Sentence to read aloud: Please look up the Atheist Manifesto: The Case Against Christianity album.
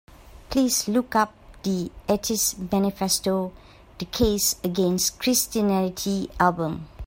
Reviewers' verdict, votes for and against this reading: rejected, 1, 2